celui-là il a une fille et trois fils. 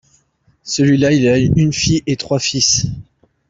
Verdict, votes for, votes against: rejected, 1, 2